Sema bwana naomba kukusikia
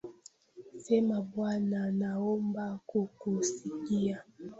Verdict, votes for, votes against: rejected, 0, 2